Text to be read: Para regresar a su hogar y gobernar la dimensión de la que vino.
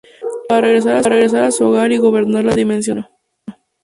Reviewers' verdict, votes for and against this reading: rejected, 0, 2